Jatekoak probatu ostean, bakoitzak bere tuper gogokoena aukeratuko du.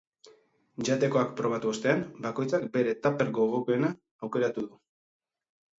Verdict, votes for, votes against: rejected, 2, 2